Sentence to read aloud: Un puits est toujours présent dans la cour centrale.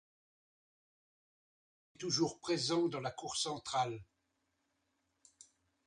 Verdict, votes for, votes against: rejected, 0, 2